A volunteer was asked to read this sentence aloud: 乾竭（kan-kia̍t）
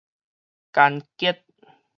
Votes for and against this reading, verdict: 4, 0, accepted